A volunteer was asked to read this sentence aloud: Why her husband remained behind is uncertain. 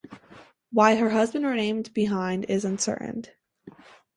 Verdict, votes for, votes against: accepted, 2, 0